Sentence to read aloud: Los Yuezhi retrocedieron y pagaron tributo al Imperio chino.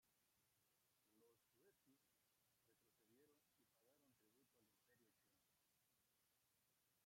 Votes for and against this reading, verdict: 0, 2, rejected